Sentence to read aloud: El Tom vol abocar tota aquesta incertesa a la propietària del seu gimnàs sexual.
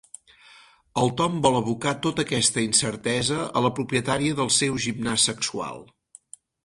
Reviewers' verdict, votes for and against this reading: accepted, 6, 0